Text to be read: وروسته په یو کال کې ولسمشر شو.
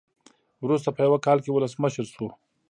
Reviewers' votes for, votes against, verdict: 2, 0, accepted